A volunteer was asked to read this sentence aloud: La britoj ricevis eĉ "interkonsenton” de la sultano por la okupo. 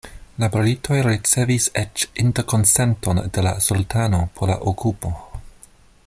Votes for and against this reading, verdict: 2, 0, accepted